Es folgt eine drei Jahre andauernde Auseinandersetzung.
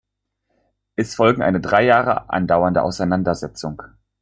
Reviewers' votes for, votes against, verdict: 1, 2, rejected